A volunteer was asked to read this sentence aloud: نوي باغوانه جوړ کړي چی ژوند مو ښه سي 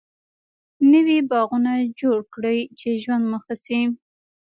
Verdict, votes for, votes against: accepted, 2, 0